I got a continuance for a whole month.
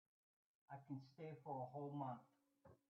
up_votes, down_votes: 0, 2